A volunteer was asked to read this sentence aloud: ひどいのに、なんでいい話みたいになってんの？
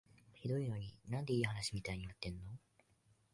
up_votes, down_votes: 1, 2